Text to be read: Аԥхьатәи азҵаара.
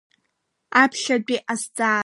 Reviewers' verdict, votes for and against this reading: accepted, 2, 1